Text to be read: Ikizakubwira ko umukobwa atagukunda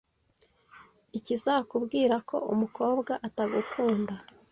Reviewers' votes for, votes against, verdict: 2, 0, accepted